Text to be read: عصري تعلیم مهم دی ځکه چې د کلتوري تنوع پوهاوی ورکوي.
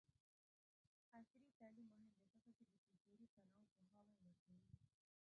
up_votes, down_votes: 1, 2